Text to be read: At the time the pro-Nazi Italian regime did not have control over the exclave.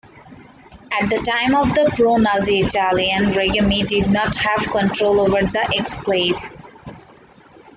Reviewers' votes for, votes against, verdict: 0, 2, rejected